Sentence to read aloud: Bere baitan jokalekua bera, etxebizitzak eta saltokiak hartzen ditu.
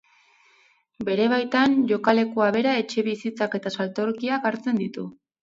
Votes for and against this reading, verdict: 2, 0, accepted